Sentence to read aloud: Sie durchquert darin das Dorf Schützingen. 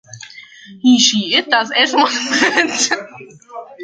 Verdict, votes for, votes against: rejected, 0, 2